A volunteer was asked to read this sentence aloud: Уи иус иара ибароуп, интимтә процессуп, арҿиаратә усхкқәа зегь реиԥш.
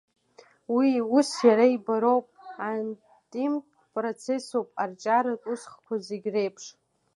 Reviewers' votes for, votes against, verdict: 1, 2, rejected